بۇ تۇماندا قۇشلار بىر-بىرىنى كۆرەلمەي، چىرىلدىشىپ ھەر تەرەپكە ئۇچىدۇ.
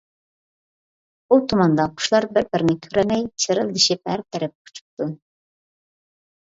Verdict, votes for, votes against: rejected, 0, 2